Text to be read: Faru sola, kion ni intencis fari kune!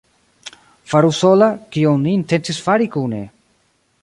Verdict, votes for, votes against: rejected, 1, 2